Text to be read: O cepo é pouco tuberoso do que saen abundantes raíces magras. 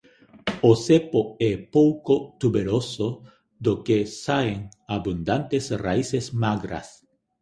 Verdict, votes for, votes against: accepted, 2, 1